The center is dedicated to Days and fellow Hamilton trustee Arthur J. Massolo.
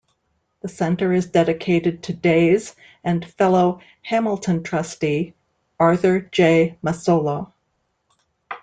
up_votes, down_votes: 2, 0